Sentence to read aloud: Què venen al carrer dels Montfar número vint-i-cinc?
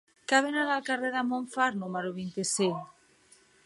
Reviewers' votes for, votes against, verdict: 3, 1, accepted